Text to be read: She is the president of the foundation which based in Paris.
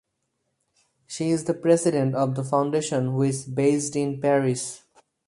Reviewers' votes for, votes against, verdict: 2, 2, rejected